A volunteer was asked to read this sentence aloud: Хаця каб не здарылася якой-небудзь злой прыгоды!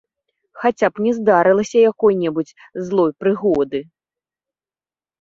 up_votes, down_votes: 0, 2